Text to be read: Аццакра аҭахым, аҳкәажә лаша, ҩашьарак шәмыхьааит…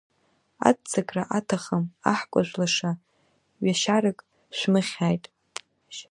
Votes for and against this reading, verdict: 1, 2, rejected